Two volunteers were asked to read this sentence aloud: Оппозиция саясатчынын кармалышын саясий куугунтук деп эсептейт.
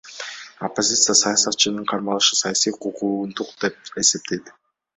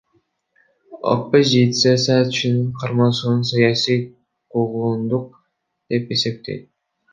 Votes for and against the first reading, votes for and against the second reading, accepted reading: 2, 1, 0, 2, first